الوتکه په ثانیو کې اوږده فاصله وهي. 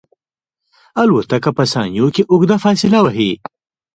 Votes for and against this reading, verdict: 0, 2, rejected